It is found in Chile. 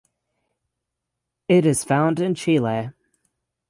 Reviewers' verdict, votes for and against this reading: rejected, 3, 3